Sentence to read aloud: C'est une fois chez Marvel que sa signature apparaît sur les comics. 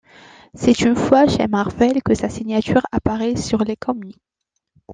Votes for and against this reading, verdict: 0, 2, rejected